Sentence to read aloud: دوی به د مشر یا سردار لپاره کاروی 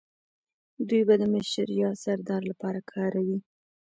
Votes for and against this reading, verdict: 2, 0, accepted